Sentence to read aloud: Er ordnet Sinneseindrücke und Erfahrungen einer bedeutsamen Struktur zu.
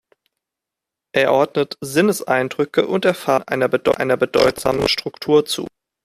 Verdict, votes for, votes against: rejected, 0, 2